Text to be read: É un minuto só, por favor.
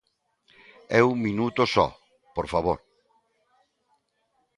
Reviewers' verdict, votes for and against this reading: rejected, 0, 2